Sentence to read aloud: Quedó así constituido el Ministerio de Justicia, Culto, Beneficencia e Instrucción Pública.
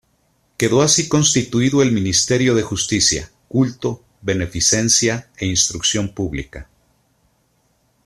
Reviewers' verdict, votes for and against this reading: accepted, 2, 0